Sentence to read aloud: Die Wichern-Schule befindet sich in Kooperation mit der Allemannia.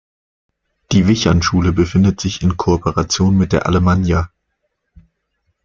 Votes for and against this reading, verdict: 2, 0, accepted